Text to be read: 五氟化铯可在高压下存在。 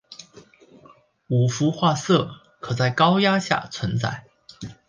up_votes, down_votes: 0, 2